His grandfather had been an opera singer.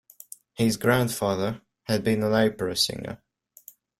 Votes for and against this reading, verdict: 2, 3, rejected